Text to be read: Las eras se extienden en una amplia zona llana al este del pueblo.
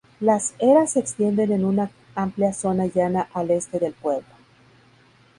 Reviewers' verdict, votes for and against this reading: accepted, 2, 0